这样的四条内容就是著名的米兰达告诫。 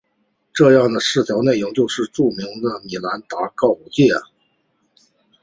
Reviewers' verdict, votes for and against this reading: accepted, 3, 0